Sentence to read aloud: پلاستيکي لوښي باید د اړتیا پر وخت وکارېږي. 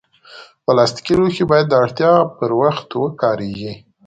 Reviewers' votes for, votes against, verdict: 2, 0, accepted